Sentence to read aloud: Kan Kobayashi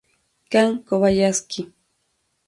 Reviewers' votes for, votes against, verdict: 0, 2, rejected